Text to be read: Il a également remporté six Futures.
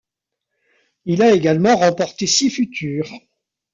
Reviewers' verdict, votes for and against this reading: rejected, 1, 2